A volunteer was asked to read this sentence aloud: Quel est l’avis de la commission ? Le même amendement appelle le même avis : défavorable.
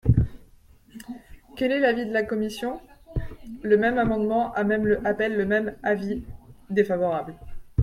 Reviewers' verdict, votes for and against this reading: rejected, 0, 2